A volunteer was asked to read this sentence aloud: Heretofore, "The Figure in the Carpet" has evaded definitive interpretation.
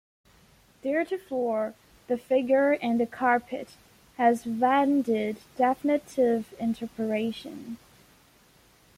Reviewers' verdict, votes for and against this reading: rejected, 1, 2